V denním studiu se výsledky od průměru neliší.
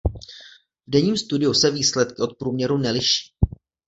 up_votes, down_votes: 1, 2